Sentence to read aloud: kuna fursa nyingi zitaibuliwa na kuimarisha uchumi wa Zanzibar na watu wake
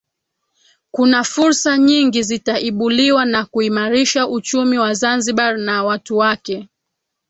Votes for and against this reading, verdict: 2, 1, accepted